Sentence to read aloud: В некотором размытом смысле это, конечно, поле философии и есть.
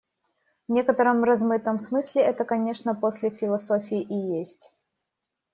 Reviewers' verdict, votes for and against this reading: rejected, 1, 2